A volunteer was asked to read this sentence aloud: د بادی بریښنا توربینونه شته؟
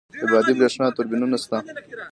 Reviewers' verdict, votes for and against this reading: rejected, 1, 2